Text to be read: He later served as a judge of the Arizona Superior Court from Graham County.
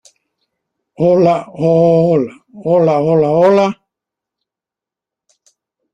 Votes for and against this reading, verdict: 1, 2, rejected